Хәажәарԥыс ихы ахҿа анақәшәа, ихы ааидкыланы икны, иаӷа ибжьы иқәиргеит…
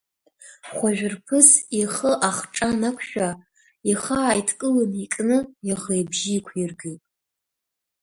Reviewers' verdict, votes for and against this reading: rejected, 0, 2